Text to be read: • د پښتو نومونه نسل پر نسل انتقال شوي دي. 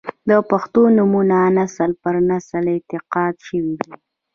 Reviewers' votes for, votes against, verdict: 0, 2, rejected